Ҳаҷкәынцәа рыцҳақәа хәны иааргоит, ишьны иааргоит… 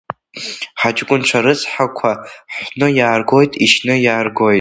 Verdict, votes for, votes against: accepted, 2, 1